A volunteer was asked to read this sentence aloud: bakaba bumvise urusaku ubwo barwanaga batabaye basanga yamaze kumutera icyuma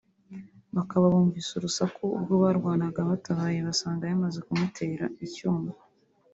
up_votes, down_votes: 0, 2